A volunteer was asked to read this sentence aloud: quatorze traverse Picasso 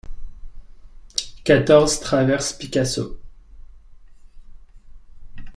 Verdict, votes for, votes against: accepted, 2, 0